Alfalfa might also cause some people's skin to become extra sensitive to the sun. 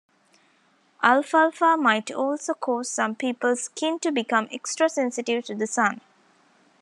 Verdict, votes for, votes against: accepted, 2, 0